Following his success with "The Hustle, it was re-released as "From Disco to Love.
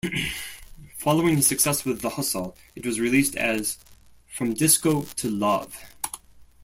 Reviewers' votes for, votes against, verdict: 0, 2, rejected